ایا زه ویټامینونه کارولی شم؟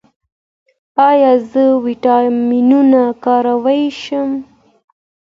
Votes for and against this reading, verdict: 2, 0, accepted